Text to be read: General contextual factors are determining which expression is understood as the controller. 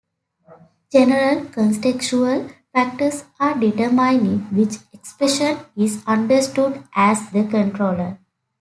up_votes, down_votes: 2, 0